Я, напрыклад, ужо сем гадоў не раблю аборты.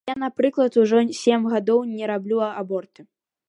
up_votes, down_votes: 2, 0